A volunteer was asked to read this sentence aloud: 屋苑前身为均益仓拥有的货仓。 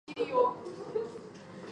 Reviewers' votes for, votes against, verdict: 0, 2, rejected